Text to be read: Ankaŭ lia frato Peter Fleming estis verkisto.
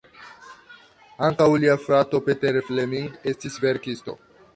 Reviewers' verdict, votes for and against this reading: rejected, 1, 2